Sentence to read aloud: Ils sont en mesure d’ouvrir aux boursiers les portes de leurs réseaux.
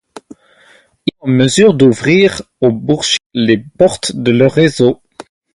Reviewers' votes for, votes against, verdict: 2, 2, rejected